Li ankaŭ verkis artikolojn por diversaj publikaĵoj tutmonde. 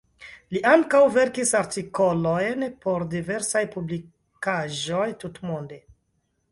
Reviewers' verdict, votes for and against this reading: rejected, 0, 2